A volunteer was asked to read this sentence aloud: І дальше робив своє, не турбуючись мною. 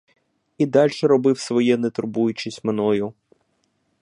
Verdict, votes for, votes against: accepted, 2, 0